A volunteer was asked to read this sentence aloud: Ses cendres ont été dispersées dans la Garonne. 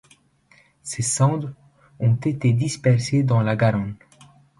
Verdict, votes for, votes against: accepted, 2, 0